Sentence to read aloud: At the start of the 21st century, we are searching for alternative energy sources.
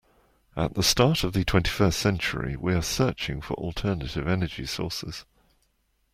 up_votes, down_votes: 0, 2